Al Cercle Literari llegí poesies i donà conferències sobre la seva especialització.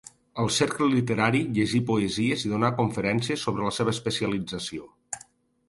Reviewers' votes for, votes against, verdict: 2, 0, accepted